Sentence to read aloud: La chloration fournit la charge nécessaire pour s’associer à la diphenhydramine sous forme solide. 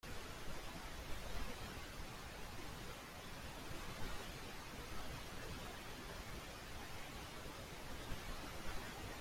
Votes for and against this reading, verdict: 0, 2, rejected